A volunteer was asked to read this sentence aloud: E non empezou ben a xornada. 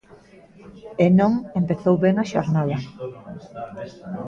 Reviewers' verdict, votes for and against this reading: rejected, 1, 2